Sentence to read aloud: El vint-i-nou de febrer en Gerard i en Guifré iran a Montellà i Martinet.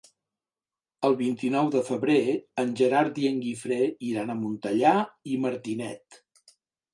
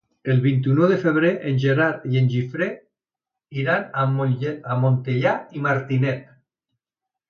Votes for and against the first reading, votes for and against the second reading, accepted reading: 3, 0, 0, 2, first